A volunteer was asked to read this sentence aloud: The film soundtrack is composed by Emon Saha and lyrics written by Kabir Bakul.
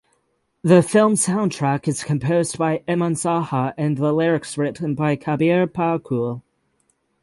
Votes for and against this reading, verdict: 0, 3, rejected